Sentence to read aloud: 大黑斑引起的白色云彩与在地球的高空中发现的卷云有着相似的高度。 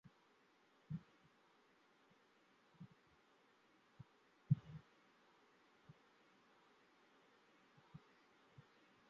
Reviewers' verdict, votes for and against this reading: rejected, 0, 2